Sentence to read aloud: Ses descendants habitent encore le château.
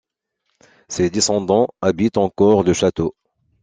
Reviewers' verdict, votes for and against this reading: accepted, 2, 0